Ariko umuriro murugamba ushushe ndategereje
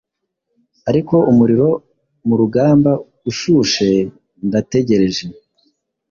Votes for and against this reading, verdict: 2, 0, accepted